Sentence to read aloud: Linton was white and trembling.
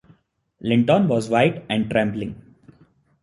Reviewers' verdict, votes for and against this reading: accepted, 2, 0